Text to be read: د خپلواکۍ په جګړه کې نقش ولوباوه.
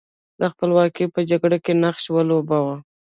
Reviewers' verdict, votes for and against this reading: accepted, 2, 0